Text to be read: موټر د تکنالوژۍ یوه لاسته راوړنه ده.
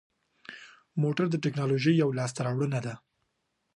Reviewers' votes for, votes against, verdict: 3, 0, accepted